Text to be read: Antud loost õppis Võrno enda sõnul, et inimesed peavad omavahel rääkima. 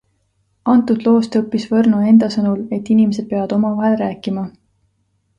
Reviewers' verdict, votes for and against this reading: accepted, 2, 0